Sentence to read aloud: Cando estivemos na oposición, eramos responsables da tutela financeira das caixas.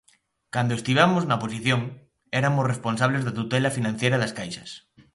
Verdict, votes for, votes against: rejected, 0, 2